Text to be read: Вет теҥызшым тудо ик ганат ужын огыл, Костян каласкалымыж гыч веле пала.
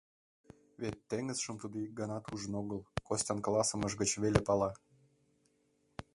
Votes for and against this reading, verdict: 0, 2, rejected